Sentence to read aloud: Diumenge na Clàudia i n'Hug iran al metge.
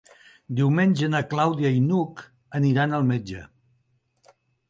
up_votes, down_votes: 0, 2